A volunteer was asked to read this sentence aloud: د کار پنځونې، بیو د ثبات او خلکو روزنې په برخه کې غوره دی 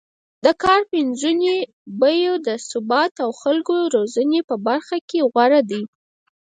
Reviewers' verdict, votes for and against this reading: rejected, 2, 4